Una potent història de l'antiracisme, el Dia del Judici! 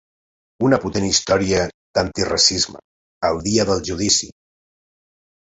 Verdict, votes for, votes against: rejected, 0, 2